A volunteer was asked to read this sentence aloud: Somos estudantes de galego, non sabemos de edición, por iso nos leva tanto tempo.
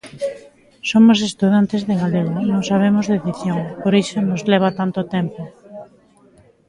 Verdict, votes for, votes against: rejected, 1, 2